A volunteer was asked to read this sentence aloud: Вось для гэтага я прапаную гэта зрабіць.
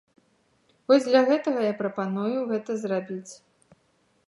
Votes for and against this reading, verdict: 2, 0, accepted